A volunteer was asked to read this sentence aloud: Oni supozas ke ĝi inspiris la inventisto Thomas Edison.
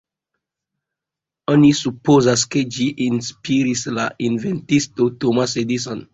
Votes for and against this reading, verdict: 2, 0, accepted